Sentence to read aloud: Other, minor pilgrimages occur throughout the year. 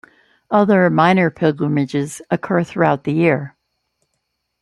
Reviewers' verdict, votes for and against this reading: accepted, 2, 0